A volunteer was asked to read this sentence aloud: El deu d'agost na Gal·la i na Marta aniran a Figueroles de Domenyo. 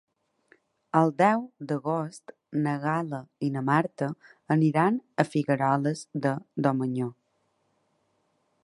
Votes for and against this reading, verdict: 0, 2, rejected